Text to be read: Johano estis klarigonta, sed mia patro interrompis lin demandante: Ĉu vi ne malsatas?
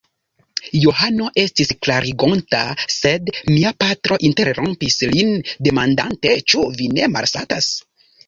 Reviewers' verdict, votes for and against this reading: accepted, 2, 0